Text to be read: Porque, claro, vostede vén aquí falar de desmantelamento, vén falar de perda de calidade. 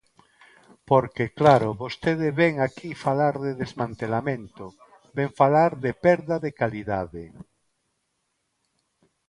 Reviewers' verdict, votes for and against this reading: accepted, 2, 0